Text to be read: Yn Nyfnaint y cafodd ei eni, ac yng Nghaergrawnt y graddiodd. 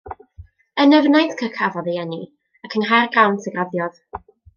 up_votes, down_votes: 2, 0